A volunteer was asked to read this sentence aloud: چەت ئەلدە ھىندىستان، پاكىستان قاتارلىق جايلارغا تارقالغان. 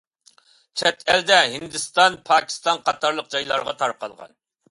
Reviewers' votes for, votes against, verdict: 2, 0, accepted